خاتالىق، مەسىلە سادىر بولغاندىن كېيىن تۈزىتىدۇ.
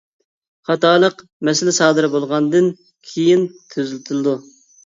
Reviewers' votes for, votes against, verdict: 0, 2, rejected